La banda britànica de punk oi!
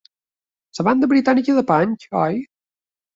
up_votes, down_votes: 1, 3